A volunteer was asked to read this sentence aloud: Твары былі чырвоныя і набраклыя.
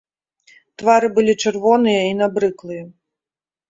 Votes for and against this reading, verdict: 1, 2, rejected